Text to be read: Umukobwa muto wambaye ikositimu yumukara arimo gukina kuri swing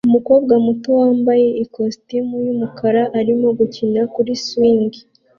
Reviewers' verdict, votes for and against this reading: accepted, 2, 0